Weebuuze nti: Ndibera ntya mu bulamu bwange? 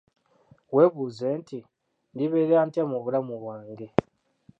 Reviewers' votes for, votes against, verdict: 0, 2, rejected